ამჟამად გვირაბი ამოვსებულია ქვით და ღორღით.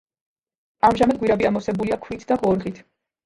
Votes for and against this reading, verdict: 0, 2, rejected